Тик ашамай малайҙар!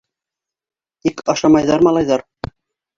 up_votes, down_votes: 0, 2